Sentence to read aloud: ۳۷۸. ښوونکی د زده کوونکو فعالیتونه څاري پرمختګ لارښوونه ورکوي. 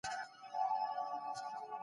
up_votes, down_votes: 0, 2